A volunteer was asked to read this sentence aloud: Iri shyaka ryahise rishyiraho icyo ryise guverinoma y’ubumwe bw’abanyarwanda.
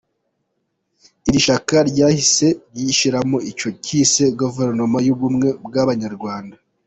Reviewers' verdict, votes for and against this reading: rejected, 0, 2